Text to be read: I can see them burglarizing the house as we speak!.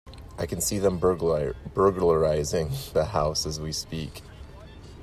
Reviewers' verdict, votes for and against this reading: accepted, 2, 0